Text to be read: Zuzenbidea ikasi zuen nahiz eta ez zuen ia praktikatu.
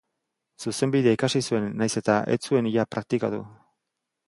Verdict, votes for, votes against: accepted, 2, 0